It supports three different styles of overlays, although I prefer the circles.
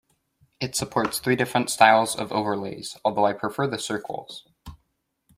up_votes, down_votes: 2, 0